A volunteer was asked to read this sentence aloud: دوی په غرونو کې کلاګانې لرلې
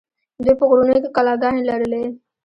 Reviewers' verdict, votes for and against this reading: accepted, 2, 0